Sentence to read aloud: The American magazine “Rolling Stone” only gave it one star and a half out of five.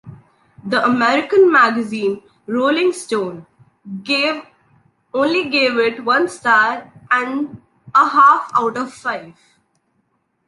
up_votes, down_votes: 1, 3